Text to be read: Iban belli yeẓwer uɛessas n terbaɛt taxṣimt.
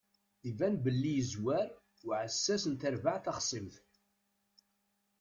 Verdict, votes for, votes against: rejected, 0, 2